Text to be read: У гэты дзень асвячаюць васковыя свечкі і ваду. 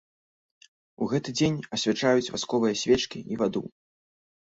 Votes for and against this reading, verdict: 2, 0, accepted